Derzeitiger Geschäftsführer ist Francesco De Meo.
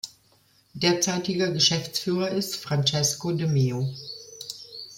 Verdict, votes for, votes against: accepted, 2, 0